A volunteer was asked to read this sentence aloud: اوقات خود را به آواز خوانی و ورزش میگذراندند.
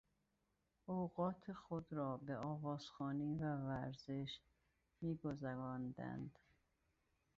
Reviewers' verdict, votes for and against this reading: rejected, 1, 2